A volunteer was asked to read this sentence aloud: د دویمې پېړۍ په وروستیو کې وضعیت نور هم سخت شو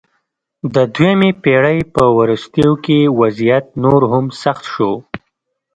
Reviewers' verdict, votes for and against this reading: accepted, 2, 0